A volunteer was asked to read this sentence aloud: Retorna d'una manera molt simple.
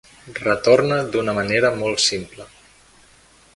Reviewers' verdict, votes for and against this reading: accepted, 3, 0